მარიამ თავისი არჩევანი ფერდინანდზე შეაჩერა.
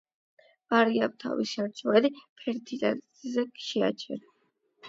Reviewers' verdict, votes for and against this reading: accepted, 8, 0